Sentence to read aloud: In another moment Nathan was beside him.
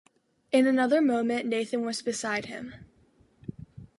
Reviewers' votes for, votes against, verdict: 2, 0, accepted